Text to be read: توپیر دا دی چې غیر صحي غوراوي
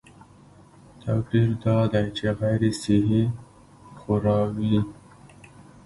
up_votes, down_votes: 1, 2